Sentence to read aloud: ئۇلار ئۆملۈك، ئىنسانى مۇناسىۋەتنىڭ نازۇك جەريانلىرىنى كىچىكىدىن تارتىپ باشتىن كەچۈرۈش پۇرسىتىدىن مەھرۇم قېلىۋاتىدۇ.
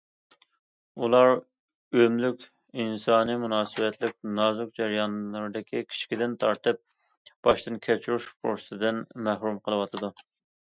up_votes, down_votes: 1, 2